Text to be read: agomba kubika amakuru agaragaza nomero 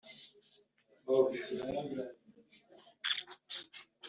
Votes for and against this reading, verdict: 0, 2, rejected